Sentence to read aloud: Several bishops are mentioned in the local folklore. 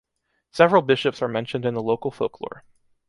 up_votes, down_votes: 2, 0